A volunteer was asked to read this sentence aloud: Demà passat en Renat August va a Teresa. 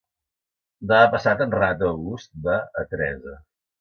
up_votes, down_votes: 1, 2